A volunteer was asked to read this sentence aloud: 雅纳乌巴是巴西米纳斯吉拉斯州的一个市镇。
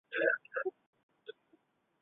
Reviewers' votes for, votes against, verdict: 0, 2, rejected